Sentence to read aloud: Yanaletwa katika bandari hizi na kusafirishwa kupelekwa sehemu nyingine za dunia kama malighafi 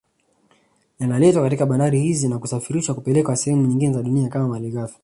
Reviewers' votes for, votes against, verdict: 2, 0, accepted